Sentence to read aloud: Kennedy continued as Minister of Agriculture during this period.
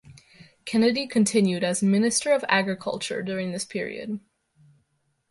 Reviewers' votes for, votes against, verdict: 2, 0, accepted